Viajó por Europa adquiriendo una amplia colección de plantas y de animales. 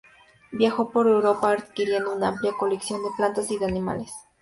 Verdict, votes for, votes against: accepted, 2, 0